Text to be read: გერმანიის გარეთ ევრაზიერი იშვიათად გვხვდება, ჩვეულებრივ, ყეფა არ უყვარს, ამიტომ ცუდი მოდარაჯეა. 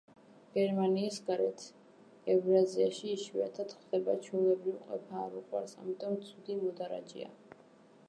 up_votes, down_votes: 0, 2